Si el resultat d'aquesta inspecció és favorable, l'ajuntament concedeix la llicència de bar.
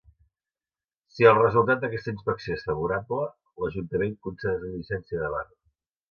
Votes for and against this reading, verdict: 0, 2, rejected